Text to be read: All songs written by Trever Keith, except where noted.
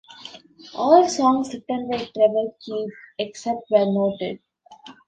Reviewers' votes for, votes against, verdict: 1, 2, rejected